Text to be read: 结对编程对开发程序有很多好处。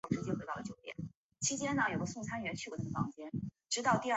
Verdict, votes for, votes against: rejected, 1, 3